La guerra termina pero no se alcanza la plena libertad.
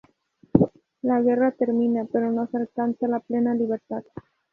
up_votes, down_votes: 2, 0